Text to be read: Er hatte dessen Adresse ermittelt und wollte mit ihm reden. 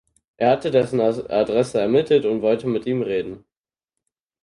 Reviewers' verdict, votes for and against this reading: rejected, 0, 4